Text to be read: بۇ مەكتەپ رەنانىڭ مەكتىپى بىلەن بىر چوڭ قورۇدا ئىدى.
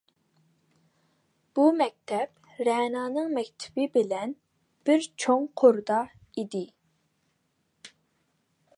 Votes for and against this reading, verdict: 0, 2, rejected